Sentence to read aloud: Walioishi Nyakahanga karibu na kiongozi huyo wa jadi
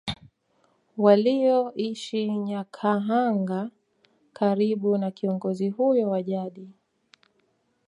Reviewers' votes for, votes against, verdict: 0, 2, rejected